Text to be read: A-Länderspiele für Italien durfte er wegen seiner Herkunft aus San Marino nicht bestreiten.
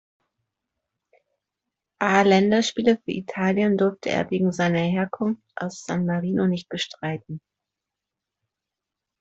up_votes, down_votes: 2, 0